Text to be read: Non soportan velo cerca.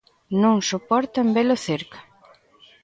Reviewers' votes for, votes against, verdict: 2, 0, accepted